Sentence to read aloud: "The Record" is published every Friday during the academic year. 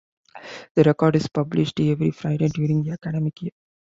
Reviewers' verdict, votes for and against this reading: accepted, 2, 0